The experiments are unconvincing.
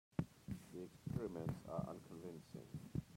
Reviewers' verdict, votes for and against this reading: rejected, 0, 2